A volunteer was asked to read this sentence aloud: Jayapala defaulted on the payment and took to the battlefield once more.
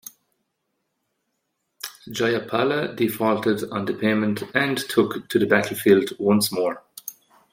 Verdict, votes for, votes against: accepted, 2, 0